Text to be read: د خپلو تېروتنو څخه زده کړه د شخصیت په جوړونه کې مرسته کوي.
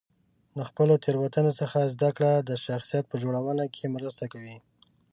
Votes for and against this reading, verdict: 3, 0, accepted